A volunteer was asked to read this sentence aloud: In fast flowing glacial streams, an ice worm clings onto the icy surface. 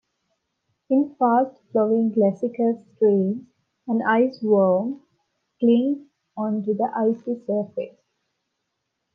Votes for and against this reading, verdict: 1, 2, rejected